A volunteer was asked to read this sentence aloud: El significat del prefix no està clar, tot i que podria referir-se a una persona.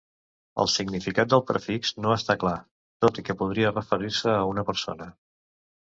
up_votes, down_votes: 2, 0